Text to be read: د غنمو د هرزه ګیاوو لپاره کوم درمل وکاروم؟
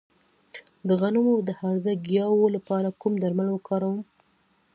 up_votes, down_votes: 2, 0